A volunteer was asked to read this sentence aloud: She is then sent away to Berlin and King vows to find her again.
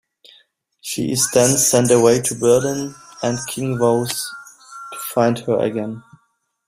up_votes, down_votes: 2, 1